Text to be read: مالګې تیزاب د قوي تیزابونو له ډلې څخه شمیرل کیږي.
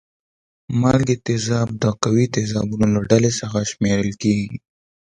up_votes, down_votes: 2, 0